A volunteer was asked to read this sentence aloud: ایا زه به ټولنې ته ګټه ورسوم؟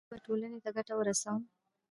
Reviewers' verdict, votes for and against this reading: rejected, 2, 3